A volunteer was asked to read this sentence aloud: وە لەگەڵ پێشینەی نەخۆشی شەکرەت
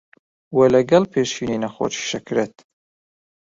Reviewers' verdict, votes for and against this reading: rejected, 0, 2